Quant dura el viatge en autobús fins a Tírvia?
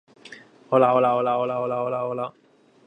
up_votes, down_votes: 1, 3